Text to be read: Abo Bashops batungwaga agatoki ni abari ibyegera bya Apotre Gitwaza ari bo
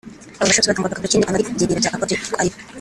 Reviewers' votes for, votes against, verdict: 0, 2, rejected